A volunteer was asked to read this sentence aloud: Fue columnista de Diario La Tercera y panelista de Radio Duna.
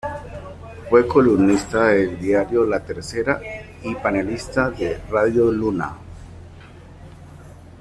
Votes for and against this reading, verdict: 2, 0, accepted